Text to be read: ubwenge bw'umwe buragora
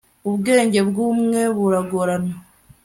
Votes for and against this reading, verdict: 1, 2, rejected